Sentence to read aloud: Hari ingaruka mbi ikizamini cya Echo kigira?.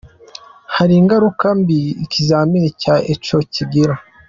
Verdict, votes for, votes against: accepted, 2, 0